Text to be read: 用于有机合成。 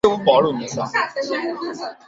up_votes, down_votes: 1, 3